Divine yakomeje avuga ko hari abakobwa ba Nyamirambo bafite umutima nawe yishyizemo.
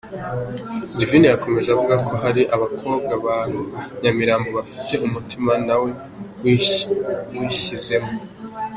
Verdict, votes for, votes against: rejected, 0, 2